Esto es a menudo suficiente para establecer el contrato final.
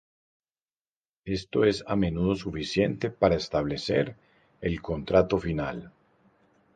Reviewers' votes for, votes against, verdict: 0, 2, rejected